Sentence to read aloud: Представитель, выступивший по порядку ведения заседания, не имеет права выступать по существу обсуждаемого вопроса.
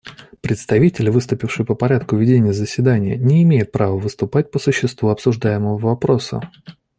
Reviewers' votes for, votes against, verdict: 2, 0, accepted